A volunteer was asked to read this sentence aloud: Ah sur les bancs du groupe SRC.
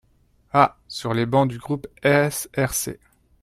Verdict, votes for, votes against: accepted, 2, 0